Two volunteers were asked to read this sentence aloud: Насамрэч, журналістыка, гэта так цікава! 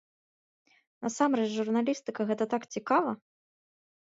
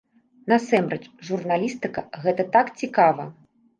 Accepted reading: first